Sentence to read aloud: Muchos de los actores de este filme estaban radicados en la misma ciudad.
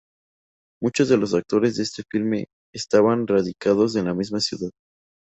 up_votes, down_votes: 2, 0